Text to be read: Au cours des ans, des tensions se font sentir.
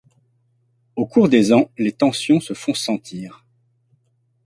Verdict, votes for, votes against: rejected, 1, 2